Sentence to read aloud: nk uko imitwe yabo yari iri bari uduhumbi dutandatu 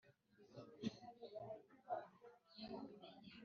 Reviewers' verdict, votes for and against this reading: rejected, 1, 2